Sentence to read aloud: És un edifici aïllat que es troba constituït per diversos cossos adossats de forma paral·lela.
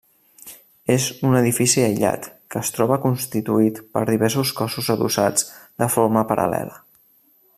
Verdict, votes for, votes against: rejected, 0, 2